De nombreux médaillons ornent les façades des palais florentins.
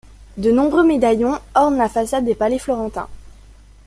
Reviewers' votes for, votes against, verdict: 1, 2, rejected